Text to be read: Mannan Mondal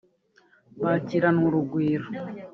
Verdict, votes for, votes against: rejected, 0, 2